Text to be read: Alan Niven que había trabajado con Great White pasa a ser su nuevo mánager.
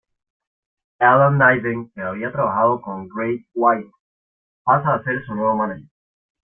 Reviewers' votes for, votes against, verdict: 0, 2, rejected